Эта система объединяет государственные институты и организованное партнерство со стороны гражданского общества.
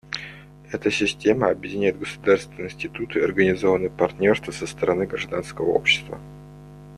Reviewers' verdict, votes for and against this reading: rejected, 1, 2